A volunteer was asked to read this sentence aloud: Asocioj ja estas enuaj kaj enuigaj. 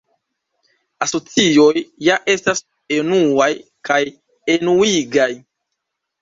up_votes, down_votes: 2, 0